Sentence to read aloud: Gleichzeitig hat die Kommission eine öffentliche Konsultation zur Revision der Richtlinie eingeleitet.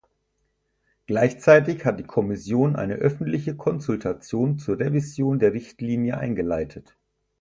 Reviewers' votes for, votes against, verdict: 4, 0, accepted